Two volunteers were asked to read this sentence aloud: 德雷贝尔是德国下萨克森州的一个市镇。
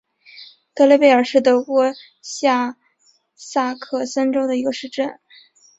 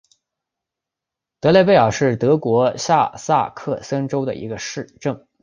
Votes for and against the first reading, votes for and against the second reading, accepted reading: 2, 0, 0, 2, first